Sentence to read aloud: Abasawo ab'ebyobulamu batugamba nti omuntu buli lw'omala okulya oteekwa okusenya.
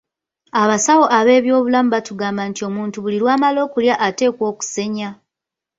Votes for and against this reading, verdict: 2, 3, rejected